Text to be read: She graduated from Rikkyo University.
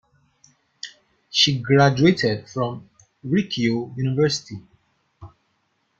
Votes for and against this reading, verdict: 1, 2, rejected